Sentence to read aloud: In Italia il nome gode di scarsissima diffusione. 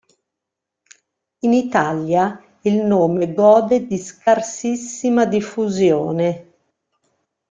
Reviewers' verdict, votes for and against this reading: accepted, 2, 0